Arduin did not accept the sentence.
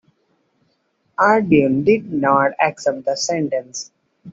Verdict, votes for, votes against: accepted, 2, 0